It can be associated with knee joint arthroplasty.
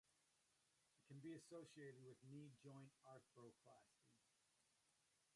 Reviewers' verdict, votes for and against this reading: rejected, 0, 2